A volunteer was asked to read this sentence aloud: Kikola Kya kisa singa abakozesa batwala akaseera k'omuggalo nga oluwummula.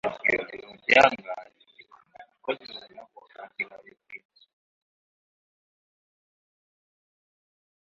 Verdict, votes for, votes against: rejected, 0, 2